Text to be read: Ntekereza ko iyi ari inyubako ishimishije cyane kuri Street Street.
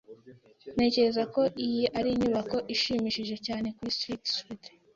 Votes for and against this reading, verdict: 2, 0, accepted